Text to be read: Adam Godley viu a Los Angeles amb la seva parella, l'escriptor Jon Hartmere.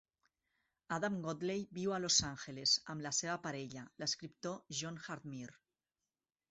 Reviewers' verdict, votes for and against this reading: rejected, 0, 4